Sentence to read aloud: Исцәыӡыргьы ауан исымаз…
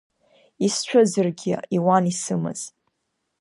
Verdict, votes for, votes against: rejected, 1, 2